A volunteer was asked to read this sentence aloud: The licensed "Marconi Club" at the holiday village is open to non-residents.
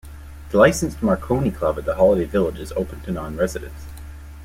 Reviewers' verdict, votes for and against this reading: accepted, 2, 0